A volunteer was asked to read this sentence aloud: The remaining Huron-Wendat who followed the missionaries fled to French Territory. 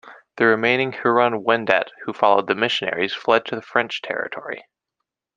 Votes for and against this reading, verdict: 0, 2, rejected